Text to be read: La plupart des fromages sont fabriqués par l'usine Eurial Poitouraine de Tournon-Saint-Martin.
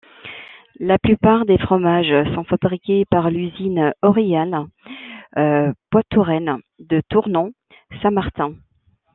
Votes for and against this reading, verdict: 0, 2, rejected